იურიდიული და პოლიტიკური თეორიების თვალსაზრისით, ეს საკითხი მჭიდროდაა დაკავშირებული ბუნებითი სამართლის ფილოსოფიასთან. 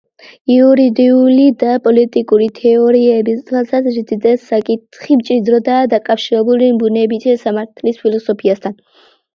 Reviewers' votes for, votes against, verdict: 2, 1, accepted